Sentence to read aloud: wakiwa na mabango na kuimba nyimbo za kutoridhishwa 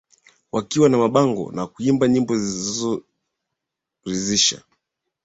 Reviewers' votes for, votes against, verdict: 1, 6, rejected